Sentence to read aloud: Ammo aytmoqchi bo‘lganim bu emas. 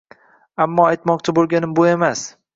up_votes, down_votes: 2, 0